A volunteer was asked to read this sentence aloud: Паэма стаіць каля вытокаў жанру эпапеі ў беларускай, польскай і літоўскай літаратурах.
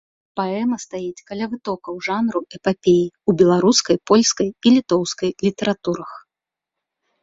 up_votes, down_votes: 2, 0